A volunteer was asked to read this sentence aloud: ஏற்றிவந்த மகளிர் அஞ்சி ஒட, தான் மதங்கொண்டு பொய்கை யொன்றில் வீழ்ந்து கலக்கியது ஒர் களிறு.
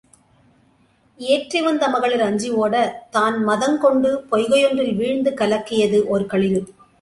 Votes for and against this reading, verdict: 2, 0, accepted